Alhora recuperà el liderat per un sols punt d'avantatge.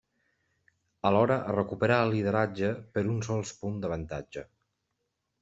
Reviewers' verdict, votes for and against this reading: rejected, 0, 2